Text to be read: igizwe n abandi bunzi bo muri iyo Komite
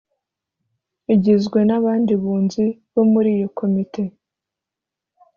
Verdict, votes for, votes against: accepted, 2, 0